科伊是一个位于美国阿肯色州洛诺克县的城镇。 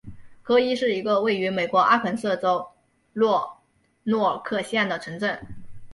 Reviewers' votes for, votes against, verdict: 3, 2, accepted